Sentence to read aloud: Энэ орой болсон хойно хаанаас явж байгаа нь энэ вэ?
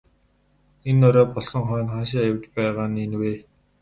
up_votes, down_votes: 2, 2